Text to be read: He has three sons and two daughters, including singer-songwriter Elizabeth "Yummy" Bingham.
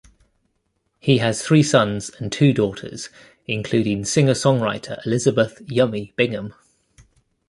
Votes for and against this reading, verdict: 2, 0, accepted